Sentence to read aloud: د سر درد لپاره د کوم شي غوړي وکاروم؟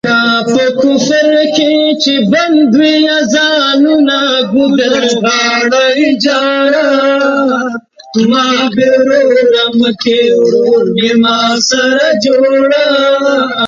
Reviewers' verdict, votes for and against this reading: rejected, 0, 3